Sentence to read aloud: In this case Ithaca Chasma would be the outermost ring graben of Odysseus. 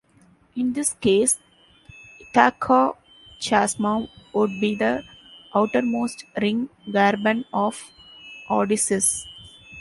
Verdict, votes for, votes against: rejected, 1, 2